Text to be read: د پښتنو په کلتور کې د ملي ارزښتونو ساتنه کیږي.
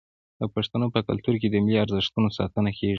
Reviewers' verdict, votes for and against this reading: rejected, 1, 2